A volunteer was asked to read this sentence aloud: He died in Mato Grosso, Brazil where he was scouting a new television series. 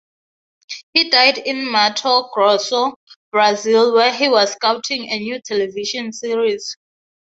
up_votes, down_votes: 3, 0